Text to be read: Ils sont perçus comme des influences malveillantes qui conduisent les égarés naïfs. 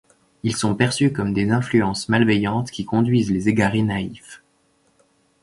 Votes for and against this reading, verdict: 0, 2, rejected